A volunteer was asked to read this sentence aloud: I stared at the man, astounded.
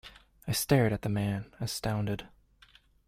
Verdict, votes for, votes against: accepted, 2, 0